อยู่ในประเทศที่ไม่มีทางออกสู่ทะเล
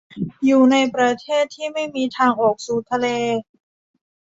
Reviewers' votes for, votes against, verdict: 2, 1, accepted